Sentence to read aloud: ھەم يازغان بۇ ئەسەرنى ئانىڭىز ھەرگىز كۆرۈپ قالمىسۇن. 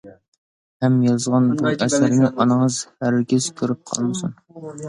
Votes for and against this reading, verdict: 1, 2, rejected